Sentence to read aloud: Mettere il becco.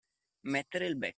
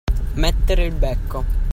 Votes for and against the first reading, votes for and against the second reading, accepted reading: 1, 2, 2, 0, second